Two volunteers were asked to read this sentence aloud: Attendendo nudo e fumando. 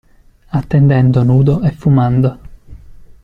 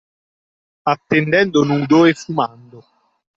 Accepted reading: first